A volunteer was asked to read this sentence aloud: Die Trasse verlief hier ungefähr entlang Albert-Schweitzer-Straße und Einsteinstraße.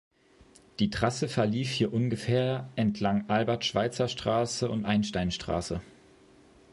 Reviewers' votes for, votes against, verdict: 2, 0, accepted